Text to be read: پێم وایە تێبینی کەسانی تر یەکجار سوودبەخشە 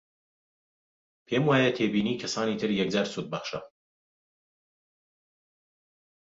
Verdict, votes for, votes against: accepted, 2, 0